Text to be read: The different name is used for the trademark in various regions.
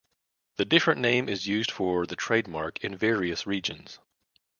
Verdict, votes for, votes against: accepted, 2, 0